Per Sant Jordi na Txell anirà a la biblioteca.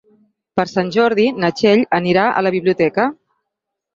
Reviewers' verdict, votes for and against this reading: accepted, 6, 2